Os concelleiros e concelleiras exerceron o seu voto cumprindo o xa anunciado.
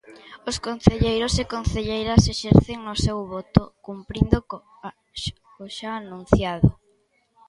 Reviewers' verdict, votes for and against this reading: rejected, 0, 2